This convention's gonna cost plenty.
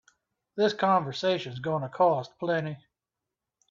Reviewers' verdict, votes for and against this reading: rejected, 1, 2